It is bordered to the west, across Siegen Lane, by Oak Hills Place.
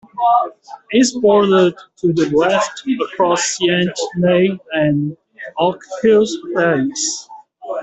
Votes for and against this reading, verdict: 1, 2, rejected